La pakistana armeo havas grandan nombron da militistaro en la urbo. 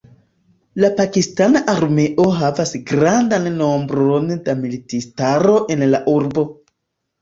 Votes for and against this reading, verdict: 2, 0, accepted